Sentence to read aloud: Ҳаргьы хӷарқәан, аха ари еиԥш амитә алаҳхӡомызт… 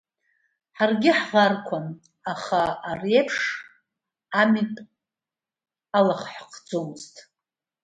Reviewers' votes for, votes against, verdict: 0, 2, rejected